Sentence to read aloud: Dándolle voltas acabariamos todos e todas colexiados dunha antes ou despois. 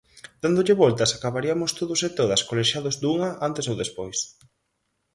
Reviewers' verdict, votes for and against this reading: rejected, 0, 4